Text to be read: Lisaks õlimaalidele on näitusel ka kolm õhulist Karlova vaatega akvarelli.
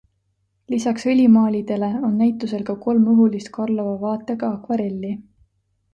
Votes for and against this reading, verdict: 2, 0, accepted